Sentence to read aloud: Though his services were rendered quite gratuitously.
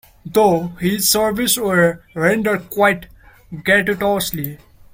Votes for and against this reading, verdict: 0, 2, rejected